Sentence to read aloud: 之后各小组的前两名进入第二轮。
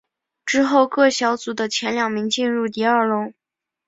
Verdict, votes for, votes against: accepted, 5, 0